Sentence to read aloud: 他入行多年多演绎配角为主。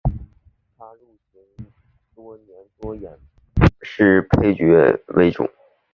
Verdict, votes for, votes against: rejected, 1, 2